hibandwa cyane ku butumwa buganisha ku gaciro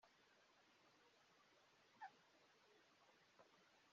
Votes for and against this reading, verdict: 0, 2, rejected